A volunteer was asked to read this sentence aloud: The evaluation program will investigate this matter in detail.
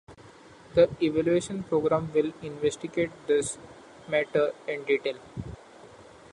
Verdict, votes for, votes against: accepted, 2, 0